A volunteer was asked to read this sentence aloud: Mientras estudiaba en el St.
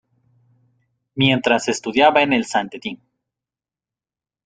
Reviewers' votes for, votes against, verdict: 0, 2, rejected